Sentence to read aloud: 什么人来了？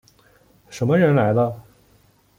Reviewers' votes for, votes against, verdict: 2, 0, accepted